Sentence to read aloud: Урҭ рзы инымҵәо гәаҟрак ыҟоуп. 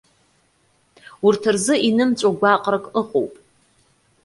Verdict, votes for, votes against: accepted, 2, 0